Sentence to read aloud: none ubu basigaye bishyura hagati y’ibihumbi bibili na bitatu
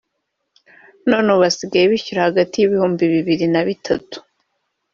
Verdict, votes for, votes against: rejected, 1, 2